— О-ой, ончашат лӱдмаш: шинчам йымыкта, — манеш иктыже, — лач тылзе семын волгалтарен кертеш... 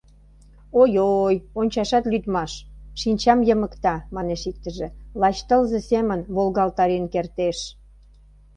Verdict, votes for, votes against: rejected, 1, 2